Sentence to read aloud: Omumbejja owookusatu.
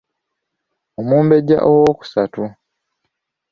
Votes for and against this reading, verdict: 2, 0, accepted